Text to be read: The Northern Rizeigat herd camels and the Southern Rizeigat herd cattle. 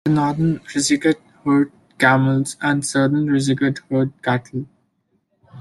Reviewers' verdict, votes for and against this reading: rejected, 0, 2